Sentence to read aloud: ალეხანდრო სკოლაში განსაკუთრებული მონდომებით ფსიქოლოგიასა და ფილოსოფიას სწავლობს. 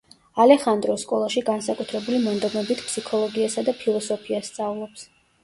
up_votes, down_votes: 0, 2